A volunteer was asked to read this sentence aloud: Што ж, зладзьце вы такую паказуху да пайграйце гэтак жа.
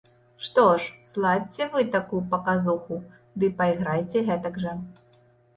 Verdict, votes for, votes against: rejected, 1, 2